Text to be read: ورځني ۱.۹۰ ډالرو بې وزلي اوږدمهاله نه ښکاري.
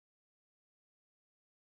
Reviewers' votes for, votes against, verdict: 0, 2, rejected